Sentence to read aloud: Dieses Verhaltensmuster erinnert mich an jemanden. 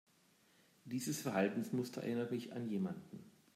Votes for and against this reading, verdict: 2, 0, accepted